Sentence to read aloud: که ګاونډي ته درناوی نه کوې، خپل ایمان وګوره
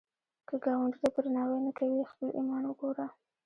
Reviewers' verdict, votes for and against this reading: rejected, 0, 2